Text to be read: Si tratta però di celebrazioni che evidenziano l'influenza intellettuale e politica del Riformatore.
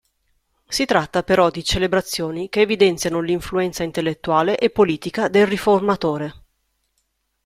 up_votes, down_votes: 2, 0